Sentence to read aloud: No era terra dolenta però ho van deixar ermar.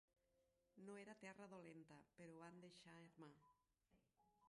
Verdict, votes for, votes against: rejected, 0, 2